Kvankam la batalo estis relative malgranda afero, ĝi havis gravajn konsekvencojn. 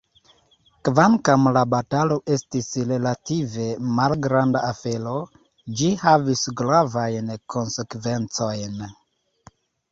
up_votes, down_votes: 2, 0